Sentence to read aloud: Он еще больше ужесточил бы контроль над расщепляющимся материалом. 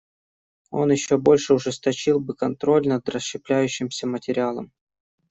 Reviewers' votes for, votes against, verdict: 2, 0, accepted